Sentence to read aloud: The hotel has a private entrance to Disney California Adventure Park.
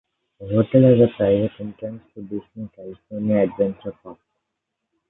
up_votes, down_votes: 2, 3